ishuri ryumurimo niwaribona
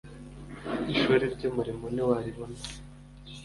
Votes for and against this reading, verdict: 2, 0, accepted